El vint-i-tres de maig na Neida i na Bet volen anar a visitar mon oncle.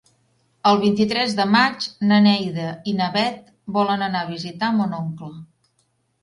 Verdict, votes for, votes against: accepted, 2, 0